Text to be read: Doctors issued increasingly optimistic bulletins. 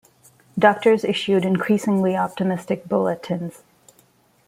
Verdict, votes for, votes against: accepted, 2, 0